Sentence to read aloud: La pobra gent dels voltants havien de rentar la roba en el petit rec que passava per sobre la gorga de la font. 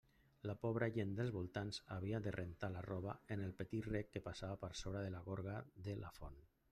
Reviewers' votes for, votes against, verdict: 1, 2, rejected